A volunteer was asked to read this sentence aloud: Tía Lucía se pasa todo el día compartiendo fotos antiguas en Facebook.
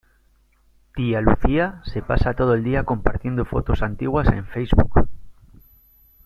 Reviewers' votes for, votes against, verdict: 2, 0, accepted